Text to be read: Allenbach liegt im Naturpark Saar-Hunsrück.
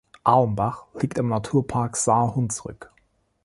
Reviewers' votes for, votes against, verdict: 0, 2, rejected